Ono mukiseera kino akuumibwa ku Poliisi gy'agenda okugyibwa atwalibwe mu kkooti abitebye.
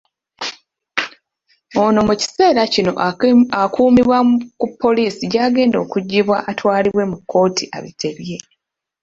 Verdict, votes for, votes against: rejected, 0, 2